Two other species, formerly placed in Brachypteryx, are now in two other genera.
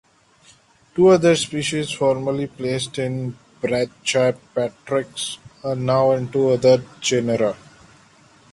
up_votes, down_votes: 2, 0